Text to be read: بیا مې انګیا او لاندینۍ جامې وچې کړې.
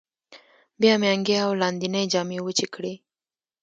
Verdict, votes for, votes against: rejected, 1, 2